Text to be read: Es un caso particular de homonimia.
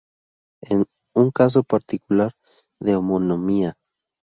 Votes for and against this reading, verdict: 2, 2, rejected